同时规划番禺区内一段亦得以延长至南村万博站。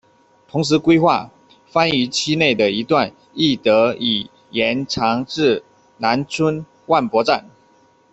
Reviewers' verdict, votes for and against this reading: rejected, 1, 2